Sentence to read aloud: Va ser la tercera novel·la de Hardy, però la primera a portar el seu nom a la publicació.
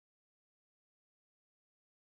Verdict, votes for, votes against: rejected, 0, 4